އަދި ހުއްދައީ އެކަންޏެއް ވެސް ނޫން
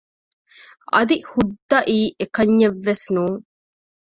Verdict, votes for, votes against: rejected, 1, 2